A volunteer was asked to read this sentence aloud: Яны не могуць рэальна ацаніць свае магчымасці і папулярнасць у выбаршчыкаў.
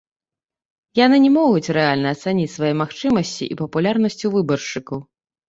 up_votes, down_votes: 1, 2